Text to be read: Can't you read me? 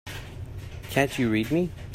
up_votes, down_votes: 2, 0